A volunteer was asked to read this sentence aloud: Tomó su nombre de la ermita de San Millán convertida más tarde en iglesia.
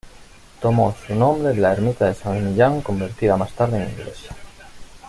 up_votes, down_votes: 1, 2